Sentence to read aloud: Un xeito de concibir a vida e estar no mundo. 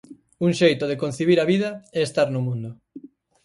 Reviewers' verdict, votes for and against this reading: accepted, 4, 0